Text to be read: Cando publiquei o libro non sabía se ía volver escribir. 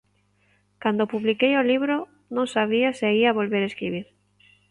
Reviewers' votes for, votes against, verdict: 3, 0, accepted